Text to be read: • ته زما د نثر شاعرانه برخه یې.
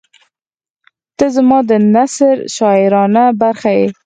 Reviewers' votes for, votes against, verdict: 4, 0, accepted